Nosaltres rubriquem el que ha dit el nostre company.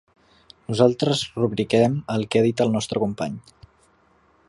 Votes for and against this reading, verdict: 4, 0, accepted